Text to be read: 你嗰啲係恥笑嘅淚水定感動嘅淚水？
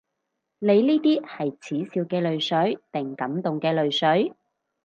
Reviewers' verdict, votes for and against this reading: rejected, 0, 4